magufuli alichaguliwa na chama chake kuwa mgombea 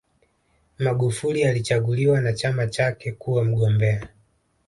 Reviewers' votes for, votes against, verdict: 2, 0, accepted